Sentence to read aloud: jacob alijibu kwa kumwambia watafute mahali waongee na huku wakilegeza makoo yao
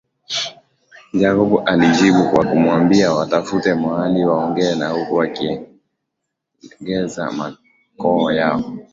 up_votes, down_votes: 2, 0